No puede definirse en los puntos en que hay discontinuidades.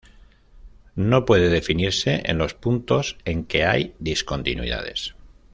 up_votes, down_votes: 2, 0